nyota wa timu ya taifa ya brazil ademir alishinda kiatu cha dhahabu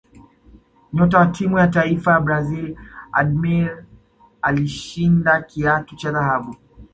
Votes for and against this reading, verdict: 2, 0, accepted